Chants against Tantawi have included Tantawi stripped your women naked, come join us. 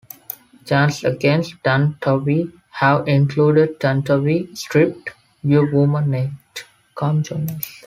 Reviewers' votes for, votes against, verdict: 1, 2, rejected